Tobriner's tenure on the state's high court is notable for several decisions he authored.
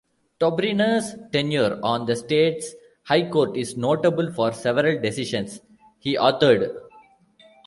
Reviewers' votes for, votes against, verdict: 2, 0, accepted